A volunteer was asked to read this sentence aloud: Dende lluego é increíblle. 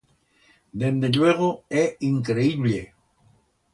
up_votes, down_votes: 2, 0